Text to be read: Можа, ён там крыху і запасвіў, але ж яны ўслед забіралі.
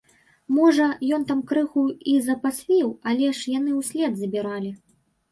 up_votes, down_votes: 0, 2